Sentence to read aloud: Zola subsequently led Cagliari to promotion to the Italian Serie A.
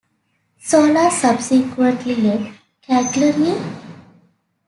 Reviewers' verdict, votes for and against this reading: rejected, 0, 2